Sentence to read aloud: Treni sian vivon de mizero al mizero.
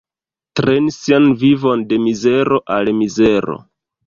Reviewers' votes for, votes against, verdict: 1, 2, rejected